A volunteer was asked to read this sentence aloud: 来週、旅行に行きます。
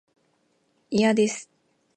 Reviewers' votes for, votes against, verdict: 0, 2, rejected